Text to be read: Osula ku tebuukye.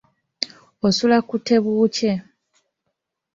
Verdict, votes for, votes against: accepted, 2, 0